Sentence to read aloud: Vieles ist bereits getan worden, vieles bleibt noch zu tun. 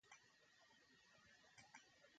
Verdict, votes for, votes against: rejected, 0, 2